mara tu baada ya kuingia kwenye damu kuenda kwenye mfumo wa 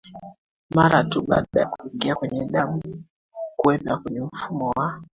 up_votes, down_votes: 1, 2